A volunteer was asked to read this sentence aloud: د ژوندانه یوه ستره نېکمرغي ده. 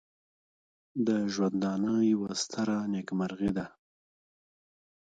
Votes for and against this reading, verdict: 2, 0, accepted